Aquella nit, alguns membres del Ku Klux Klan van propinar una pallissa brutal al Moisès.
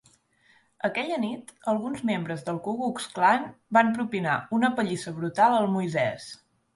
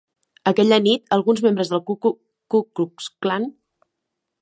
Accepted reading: first